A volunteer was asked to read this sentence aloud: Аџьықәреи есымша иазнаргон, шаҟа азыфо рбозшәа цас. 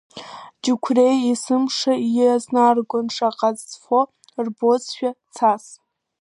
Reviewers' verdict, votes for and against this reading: rejected, 0, 2